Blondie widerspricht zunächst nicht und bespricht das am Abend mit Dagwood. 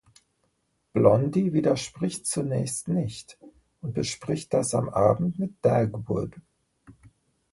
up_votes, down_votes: 2, 0